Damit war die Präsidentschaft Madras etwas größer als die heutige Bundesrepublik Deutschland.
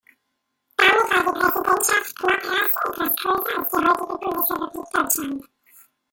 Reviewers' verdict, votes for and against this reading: rejected, 1, 2